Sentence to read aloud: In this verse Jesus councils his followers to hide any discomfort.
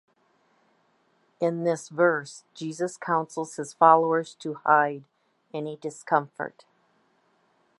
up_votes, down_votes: 2, 0